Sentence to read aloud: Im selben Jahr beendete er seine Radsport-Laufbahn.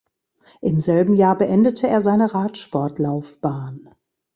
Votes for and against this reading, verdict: 2, 0, accepted